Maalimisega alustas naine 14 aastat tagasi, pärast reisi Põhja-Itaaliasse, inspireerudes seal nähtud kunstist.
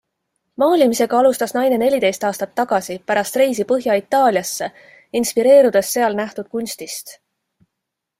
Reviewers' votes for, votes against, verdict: 0, 2, rejected